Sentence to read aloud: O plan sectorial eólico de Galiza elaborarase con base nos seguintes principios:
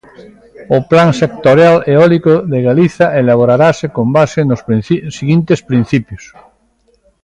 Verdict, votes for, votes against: rejected, 1, 2